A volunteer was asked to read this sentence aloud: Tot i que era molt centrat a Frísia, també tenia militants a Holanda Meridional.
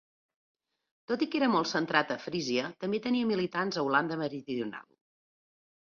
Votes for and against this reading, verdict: 2, 1, accepted